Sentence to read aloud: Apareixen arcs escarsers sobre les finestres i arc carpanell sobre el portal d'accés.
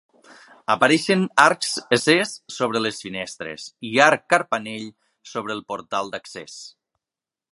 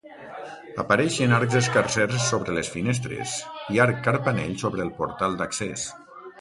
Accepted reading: second